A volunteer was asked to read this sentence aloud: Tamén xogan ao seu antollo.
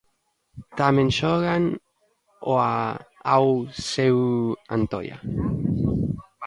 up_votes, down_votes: 0, 2